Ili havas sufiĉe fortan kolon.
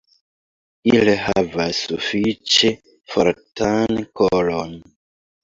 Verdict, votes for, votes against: rejected, 0, 2